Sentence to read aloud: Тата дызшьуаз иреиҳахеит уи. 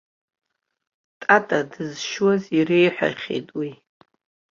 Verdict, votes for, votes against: rejected, 1, 2